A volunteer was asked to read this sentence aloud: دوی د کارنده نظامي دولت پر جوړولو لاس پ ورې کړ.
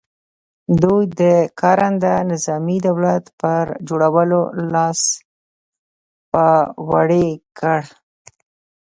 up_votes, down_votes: 0, 2